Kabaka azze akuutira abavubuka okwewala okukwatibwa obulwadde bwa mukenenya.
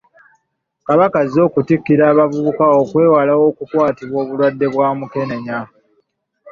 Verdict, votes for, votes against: rejected, 0, 2